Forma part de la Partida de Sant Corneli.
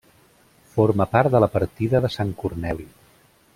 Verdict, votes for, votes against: accepted, 3, 0